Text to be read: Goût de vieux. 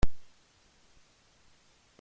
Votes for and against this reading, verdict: 0, 2, rejected